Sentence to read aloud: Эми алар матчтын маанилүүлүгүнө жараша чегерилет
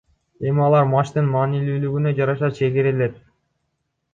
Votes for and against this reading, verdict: 2, 0, accepted